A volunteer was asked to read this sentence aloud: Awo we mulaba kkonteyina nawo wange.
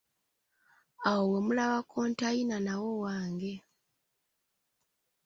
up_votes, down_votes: 2, 0